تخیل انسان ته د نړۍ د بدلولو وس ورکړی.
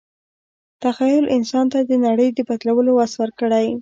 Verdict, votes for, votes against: accepted, 2, 0